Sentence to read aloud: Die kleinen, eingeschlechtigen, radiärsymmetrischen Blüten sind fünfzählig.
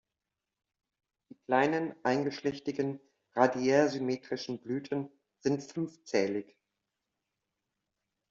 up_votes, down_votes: 1, 2